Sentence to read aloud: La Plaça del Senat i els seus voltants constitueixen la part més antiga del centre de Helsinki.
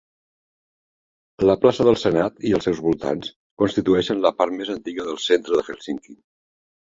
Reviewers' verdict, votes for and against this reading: accepted, 2, 0